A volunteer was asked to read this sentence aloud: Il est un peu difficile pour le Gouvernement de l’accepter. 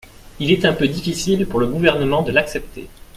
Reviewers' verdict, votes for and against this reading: accepted, 2, 0